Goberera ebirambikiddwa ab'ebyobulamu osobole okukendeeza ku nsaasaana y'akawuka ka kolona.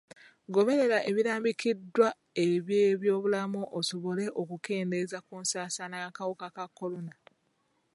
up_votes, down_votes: 1, 2